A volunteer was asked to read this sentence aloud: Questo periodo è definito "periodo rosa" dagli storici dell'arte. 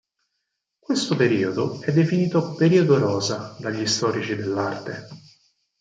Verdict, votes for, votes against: accepted, 4, 0